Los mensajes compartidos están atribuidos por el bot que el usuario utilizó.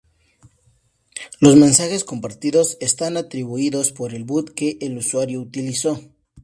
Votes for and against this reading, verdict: 2, 0, accepted